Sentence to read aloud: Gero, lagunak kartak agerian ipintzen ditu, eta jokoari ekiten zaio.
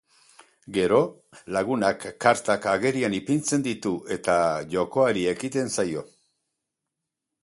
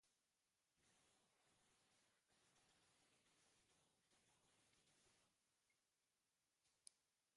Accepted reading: first